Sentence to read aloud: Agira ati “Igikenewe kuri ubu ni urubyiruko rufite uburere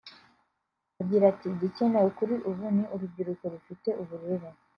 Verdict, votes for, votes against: accepted, 2, 0